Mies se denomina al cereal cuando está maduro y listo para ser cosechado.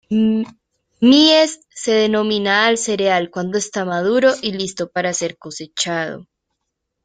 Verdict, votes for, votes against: rejected, 0, 2